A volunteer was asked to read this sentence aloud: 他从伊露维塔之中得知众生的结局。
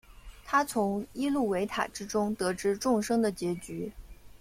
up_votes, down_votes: 2, 0